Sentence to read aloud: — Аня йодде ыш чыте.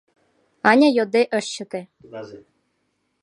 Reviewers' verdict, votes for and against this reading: rejected, 0, 2